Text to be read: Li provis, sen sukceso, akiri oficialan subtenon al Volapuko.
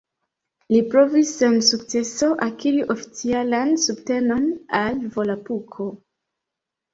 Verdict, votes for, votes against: accepted, 2, 0